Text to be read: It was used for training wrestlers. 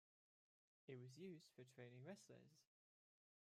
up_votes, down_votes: 1, 2